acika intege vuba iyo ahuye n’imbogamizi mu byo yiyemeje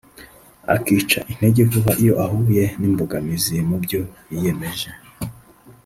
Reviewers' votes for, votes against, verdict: 0, 2, rejected